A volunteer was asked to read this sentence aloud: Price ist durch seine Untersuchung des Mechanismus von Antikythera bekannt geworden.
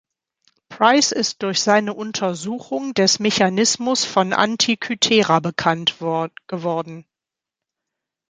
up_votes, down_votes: 2, 4